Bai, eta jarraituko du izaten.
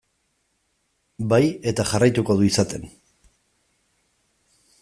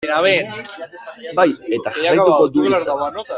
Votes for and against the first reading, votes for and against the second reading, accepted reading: 2, 0, 1, 2, first